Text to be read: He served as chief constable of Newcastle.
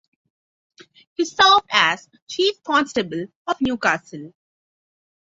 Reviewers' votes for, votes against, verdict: 3, 3, rejected